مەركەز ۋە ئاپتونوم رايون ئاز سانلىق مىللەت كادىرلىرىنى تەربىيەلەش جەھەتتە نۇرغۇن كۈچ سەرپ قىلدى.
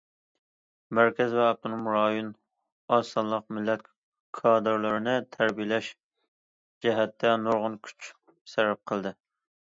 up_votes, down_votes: 2, 0